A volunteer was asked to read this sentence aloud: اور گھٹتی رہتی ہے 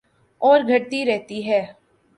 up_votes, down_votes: 2, 0